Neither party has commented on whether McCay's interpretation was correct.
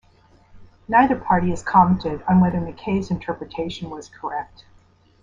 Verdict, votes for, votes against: accepted, 2, 0